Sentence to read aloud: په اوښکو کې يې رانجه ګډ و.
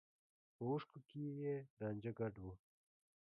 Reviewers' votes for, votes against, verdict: 2, 0, accepted